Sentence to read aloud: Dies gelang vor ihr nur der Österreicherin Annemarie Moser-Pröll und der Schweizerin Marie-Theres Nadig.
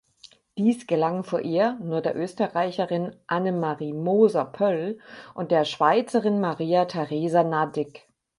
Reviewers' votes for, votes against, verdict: 0, 4, rejected